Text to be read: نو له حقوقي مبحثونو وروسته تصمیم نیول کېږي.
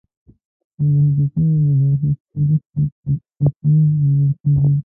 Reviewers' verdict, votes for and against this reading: rejected, 0, 2